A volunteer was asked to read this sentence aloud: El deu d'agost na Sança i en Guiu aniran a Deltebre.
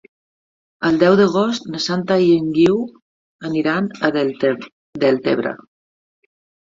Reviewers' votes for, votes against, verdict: 1, 2, rejected